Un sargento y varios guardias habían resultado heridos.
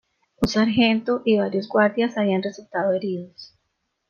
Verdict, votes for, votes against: rejected, 1, 2